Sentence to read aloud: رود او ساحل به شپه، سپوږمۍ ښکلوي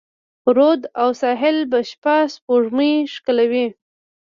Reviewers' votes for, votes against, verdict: 1, 2, rejected